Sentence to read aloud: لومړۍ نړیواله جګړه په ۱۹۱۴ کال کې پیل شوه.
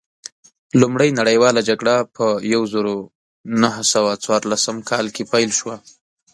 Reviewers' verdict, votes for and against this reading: rejected, 0, 2